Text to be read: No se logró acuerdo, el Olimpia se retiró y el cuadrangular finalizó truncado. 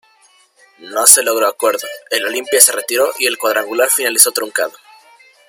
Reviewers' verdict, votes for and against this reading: rejected, 0, 2